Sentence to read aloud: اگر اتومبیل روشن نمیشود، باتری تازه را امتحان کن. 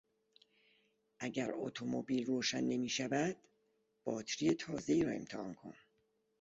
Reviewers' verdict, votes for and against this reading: rejected, 0, 2